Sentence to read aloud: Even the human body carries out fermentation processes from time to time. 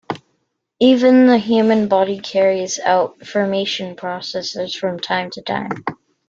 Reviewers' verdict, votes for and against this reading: rejected, 1, 2